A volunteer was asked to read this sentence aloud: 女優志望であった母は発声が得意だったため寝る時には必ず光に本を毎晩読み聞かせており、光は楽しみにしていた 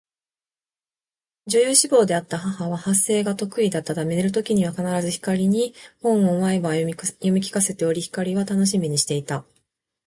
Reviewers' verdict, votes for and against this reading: accepted, 3, 0